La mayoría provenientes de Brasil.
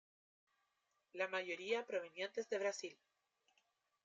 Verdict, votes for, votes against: rejected, 1, 2